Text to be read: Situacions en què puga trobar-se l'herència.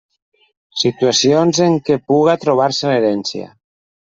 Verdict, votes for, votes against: accepted, 2, 0